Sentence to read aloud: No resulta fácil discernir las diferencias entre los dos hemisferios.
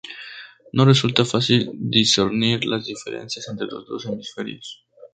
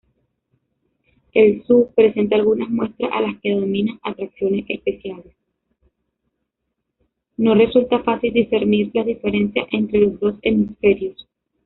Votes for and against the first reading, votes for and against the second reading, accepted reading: 2, 0, 0, 2, first